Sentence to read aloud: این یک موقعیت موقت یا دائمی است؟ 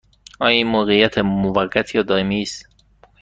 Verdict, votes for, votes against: rejected, 1, 2